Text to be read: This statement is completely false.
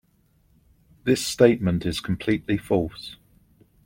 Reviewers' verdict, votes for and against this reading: accepted, 2, 0